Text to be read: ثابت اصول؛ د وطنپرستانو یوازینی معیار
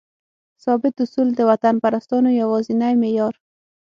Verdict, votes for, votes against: accepted, 6, 0